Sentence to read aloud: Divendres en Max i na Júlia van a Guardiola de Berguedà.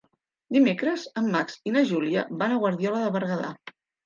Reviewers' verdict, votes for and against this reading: rejected, 0, 2